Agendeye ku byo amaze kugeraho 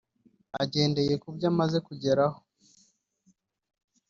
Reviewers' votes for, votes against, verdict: 0, 2, rejected